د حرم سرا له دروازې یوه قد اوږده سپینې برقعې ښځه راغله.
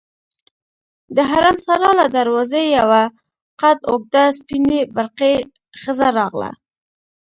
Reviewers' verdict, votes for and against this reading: rejected, 0, 2